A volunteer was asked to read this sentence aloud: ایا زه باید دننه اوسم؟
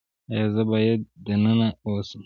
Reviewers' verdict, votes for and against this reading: accepted, 2, 0